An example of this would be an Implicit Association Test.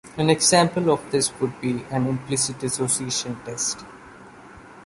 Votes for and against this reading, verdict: 3, 1, accepted